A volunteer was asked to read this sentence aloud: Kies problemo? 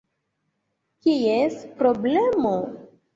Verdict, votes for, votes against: accepted, 2, 1